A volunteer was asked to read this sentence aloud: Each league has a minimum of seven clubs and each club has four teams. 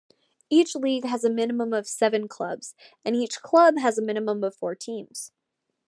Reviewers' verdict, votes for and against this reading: rejected, 1, 2